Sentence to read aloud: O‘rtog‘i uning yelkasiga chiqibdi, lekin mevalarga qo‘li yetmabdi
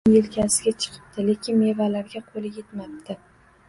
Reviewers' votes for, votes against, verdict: 1, 2, rejected